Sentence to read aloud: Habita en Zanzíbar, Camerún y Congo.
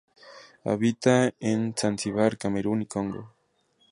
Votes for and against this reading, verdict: 2, 0, accepted